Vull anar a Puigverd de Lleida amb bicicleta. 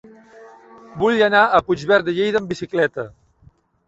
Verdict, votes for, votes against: accepted, 3, 0